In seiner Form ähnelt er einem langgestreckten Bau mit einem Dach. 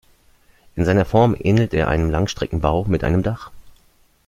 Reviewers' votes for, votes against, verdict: 1, 2, rejected